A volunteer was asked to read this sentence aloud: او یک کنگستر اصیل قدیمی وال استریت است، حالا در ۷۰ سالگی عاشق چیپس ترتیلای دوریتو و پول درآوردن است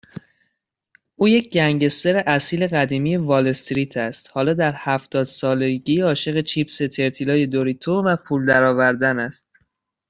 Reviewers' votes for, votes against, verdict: 0, 2, rejected